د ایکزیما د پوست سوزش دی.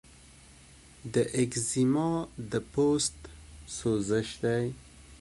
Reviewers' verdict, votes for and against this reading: accepted, 2, 0